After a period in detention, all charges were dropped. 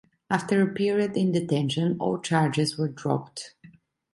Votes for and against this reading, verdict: 2, 0, accepted